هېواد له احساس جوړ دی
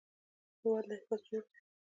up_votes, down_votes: 1, 2